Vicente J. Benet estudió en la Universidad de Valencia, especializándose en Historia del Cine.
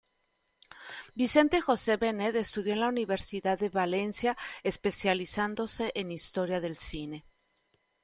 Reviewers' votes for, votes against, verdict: 1, 2, rejected